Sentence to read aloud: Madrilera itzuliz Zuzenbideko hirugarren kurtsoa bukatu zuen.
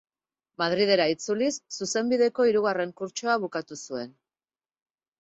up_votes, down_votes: 2, 2